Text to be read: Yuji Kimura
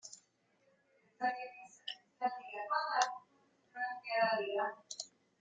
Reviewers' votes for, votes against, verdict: 0, 2, rejected